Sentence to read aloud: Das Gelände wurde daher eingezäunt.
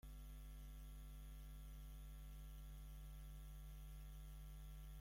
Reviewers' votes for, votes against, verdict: 0, 2, rejected